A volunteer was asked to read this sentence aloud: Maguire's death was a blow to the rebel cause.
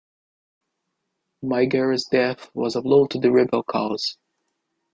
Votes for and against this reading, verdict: 2, 0, accepted